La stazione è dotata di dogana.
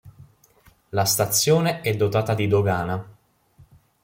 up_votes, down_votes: 3, 0